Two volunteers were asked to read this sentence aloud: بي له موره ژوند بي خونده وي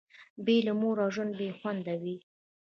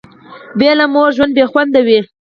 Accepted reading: second